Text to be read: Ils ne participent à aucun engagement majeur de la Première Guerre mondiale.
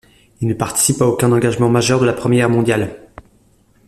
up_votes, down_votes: 0, 2